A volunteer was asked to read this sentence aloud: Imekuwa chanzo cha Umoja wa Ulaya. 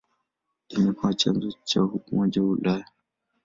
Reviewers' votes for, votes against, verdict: 2, 0, accepted